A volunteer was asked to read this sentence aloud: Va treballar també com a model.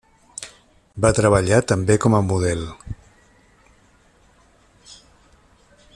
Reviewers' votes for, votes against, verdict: 3, 0, accepted